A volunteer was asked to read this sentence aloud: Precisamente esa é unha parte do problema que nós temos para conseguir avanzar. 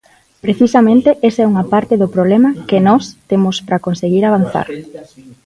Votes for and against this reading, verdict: 2, 1, accepted